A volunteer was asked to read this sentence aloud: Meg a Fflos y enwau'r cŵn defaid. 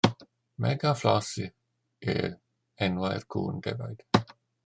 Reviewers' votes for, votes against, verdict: 0, 2, rejected